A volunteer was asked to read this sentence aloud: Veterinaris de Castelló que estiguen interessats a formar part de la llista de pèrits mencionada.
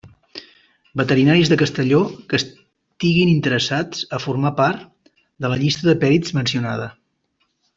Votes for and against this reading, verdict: 0, 2, rejected